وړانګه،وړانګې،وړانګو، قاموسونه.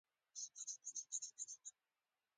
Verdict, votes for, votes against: rejected, 1, 2